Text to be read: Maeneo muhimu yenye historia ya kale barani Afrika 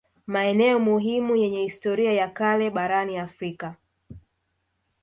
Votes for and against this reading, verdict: 0, 2, rejected